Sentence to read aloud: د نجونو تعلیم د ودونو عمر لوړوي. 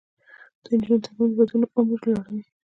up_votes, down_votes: 1, 2